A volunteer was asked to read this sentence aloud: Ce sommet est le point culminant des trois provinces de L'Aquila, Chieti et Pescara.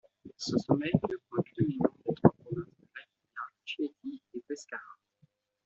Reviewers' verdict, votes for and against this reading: rejected, 1, 2